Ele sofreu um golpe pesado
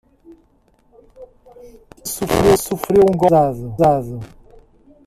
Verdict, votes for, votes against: rejected, 0, 2